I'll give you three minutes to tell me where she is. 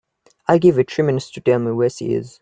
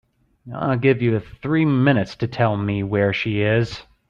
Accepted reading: second